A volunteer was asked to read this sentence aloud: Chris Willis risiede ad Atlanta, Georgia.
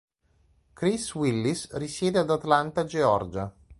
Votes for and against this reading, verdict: 2, 0, accepted